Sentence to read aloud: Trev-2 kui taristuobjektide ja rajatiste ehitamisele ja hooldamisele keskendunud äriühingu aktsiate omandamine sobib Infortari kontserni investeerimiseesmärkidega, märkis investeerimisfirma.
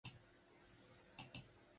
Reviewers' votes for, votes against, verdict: 0, 2, rejected